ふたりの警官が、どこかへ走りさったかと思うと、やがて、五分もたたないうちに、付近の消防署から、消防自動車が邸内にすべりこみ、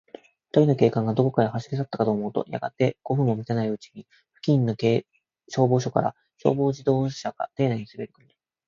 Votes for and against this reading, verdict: 3, 1, accepted